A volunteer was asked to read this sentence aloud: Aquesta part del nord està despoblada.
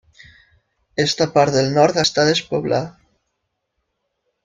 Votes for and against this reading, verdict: 0, 2, rejected